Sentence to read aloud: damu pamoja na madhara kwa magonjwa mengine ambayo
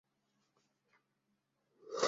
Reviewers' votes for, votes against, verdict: 0, 2, rejected